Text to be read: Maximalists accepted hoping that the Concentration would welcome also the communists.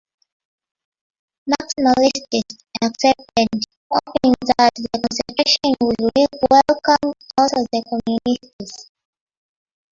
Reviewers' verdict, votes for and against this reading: rejected, 0, 2